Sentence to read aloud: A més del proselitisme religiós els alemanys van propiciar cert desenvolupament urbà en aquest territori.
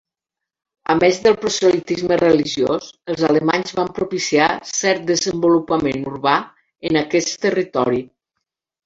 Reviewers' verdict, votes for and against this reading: rejected, 1, 2